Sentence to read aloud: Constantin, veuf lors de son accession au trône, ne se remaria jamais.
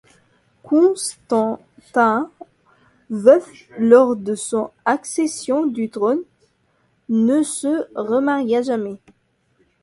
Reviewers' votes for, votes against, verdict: 0, 2, rejected